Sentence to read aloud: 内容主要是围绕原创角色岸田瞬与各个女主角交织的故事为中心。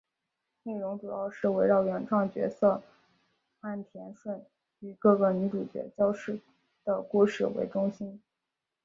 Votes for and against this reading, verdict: 1, 2, rejected